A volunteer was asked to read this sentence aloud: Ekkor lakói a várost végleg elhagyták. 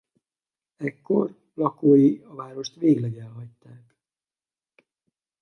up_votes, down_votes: 2, 2